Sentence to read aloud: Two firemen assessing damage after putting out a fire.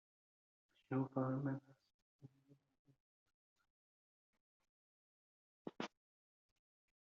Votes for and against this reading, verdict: 0, 2, rejected